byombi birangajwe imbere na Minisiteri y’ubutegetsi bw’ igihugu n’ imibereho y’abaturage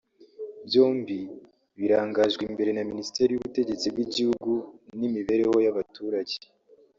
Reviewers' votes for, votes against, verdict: 2, 0, accepted